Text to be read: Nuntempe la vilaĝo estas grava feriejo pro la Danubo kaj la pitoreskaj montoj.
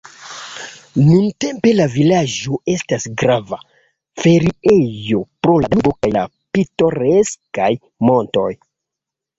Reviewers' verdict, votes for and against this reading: rejected, 1, 3